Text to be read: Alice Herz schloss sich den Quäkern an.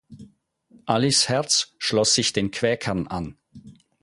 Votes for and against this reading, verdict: 4, 0, accepted